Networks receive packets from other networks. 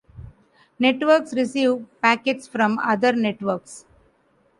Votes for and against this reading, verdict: 2, 1, accepted